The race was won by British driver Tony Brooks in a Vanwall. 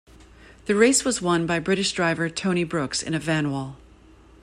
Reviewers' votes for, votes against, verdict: 2, 0, accepted